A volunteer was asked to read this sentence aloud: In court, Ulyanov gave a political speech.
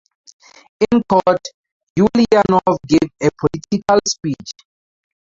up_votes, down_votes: 0, 2